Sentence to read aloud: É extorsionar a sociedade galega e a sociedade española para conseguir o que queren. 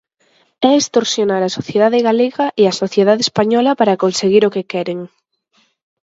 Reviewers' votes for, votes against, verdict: 4, 0, accepted